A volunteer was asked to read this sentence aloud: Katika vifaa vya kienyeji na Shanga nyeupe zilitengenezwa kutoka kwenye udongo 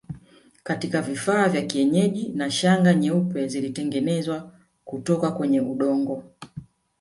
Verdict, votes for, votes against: rejected, 0, 2